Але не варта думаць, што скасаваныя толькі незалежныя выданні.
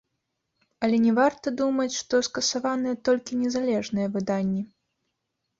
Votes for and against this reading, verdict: 1, 2, rejected